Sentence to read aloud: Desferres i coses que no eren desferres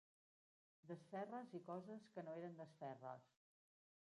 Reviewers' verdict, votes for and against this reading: rejected, 1, 2